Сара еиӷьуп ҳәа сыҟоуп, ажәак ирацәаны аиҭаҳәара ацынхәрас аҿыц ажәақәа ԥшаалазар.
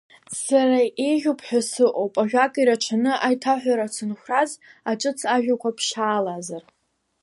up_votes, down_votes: 1, 2